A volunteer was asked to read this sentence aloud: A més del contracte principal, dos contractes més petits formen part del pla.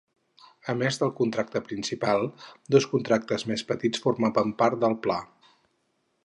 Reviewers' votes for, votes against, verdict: 2, 4, rejected